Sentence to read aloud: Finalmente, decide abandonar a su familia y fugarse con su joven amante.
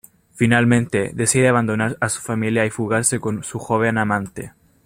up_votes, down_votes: 2, 0